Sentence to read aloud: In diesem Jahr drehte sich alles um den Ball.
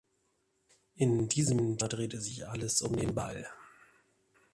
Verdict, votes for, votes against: rejected, 0, 2